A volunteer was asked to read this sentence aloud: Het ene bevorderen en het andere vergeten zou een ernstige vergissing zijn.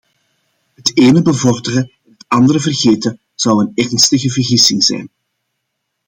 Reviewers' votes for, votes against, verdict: 2, 0, accepted